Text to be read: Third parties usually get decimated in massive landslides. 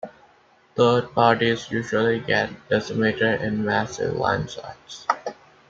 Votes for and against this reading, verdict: 2, 1, accepted